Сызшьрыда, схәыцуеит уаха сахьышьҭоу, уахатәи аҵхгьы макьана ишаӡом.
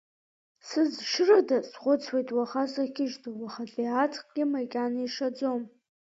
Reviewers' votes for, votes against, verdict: 1, 2, rejected